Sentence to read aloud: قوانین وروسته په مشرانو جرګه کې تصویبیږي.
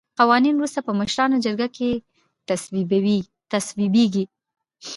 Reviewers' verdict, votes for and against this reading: rejected, 0, 2